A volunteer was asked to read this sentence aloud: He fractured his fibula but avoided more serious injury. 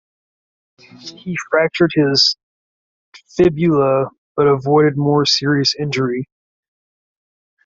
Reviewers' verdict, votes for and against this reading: rejected, 1, 2